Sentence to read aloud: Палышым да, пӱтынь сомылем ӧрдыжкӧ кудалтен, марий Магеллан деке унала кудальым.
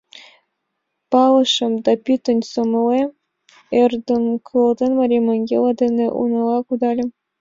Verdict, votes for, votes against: rejected, 0, 2